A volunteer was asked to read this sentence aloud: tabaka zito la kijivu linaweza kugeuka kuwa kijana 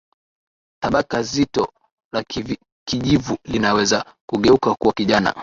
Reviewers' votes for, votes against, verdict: 0, 2, rejected